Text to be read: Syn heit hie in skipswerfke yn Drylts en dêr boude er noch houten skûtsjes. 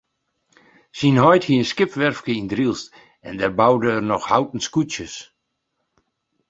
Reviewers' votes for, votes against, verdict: 2, 0, accepted